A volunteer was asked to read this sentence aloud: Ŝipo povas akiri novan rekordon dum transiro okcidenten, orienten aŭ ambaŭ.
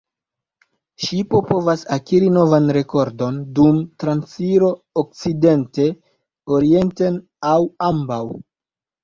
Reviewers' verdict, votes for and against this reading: rejected, 0, 2